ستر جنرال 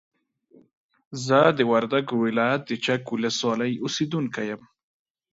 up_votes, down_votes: 0, 2